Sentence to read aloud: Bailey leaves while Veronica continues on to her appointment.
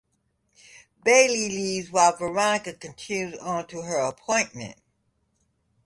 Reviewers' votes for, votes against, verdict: 1, 2, rejected